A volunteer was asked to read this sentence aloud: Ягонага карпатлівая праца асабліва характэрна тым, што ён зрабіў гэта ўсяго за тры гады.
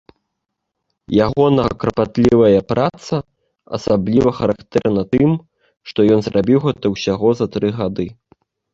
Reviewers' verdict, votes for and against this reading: rejected, 0, 2